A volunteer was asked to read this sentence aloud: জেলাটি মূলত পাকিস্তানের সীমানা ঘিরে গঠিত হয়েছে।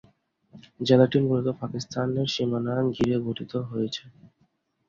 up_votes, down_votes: 2, 0